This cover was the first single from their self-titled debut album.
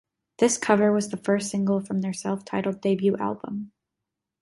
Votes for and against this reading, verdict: 2, 0, accepted